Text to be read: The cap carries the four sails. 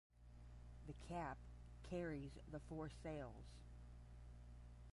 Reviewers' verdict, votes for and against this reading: rejected, 5, 10